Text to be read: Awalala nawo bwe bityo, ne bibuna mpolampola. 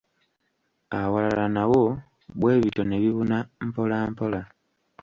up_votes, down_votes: 1, 2